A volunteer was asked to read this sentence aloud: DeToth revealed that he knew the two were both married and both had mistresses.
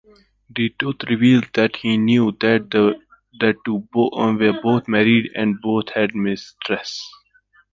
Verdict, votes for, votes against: rejected, 1, 2